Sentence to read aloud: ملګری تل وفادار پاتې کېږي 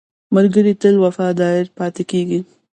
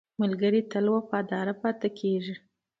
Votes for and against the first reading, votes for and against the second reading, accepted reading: 0, 2, 2, 0, second